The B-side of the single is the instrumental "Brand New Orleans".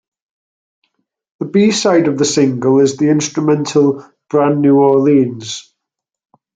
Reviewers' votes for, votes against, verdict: 2, 0, accepted